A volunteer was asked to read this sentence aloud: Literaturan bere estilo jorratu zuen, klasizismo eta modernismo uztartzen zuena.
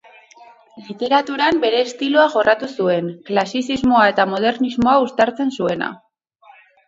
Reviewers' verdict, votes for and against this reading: rejected, 0, 4